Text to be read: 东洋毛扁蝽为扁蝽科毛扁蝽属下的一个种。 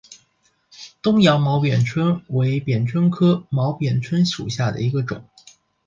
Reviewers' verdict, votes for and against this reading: accepted, 7, 0